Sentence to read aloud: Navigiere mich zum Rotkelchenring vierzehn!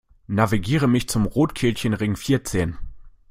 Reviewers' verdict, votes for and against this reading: accepted, 2, 0